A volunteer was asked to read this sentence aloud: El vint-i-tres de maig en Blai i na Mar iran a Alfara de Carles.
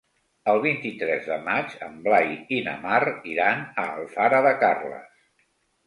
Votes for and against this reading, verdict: 2, 0, accepted